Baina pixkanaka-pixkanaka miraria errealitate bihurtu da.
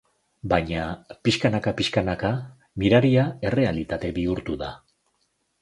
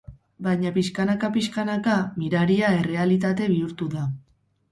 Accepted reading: first